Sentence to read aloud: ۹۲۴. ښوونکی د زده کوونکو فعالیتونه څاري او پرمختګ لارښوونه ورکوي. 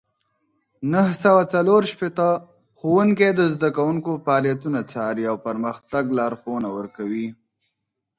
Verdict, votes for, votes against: rejected, 0, 2